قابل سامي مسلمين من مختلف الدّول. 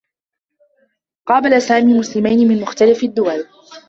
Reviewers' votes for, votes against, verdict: 0, 2, rejected